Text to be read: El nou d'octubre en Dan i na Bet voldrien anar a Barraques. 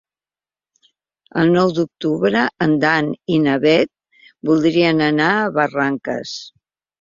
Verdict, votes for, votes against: rejected, 1, 2